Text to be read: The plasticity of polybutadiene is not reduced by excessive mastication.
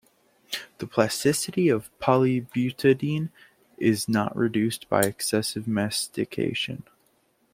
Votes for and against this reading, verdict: 1, 2, rejected